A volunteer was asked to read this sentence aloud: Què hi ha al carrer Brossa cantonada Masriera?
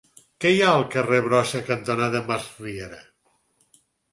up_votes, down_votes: 4, 0